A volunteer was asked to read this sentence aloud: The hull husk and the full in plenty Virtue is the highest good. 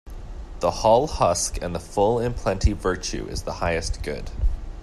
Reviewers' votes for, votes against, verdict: 2, 0, accepted